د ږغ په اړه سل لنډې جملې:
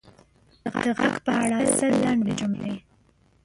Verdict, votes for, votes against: rejected, 0, 2